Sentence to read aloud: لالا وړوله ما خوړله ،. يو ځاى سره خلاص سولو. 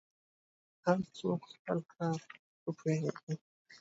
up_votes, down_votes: 1, 2